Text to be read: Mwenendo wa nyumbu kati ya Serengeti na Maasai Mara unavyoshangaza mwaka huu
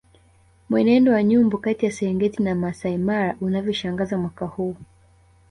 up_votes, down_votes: 2, 0